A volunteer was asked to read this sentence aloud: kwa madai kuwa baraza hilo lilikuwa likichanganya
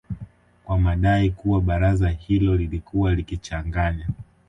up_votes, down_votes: 1, 2